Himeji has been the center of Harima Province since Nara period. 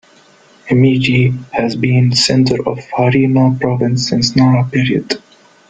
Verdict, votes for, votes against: accepted, 2, 1